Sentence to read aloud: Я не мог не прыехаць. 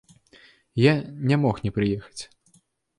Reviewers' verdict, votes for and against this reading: accepted, 2, 0